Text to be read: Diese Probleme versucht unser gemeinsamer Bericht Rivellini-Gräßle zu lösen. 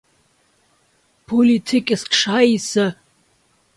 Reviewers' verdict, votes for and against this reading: rejected, 0, 2